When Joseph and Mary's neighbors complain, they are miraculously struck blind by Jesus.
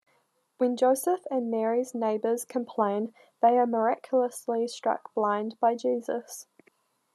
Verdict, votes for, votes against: accepted, 2, 0